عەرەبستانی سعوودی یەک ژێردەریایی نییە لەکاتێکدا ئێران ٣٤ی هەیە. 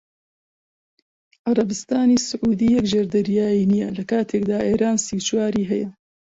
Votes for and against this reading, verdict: 0, 2, rejected